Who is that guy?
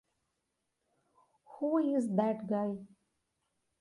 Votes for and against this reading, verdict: 2, 0, accepted